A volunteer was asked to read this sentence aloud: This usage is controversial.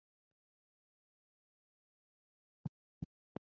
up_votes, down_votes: 0, 2